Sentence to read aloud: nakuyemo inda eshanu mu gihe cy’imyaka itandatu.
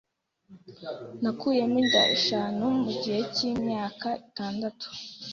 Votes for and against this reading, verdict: 2, 0, accepted